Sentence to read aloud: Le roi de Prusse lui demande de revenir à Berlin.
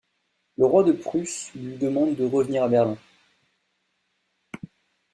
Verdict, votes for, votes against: accepted, 2, 0